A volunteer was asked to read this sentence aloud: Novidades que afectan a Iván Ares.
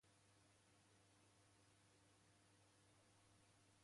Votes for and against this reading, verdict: 0, 2, rejected